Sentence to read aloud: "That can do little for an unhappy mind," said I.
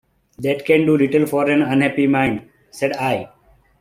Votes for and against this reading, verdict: 2, 0, accepted